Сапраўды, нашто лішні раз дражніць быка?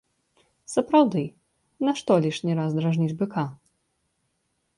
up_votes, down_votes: 2, 0